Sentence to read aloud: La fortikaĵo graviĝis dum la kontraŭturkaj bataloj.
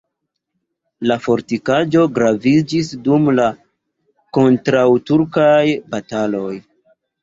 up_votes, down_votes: 1, 2